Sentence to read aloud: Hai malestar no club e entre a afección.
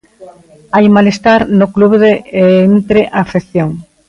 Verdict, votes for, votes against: rejected, 0, 3